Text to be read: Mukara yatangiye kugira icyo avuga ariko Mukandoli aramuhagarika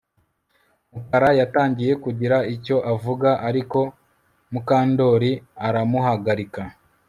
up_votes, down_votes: 2, 0